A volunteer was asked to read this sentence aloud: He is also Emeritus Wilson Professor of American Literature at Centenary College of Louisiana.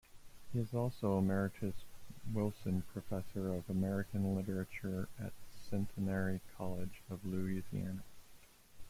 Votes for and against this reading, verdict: 1, 2, rejected